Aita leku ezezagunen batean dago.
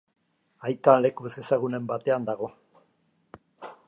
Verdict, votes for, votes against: accepted, 2, 0